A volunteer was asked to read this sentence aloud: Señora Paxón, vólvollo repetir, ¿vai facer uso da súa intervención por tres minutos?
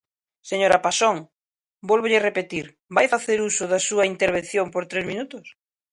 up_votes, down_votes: 2, 0